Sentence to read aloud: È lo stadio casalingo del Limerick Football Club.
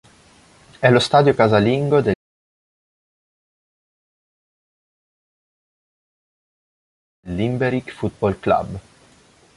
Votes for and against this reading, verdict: 0, 2, rejected